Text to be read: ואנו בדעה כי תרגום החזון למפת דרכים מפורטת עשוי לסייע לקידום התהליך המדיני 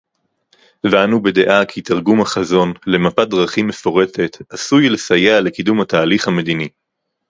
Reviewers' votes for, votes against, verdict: 2, 0, accepted